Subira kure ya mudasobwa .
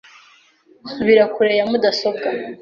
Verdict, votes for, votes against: accepted, 2, 0